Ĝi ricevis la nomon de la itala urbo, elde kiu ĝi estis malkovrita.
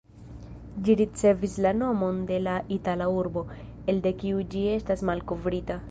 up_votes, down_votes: 1, 2